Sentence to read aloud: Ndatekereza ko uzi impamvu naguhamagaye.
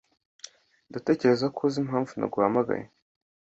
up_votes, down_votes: 2, 0